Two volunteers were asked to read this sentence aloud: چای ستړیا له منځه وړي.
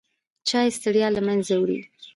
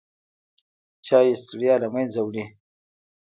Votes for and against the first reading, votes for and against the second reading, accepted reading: 2, 0, 1, 2, first